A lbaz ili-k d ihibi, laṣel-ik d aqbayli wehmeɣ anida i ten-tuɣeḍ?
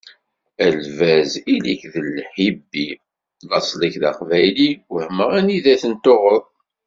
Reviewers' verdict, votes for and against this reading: rejected, 0, 2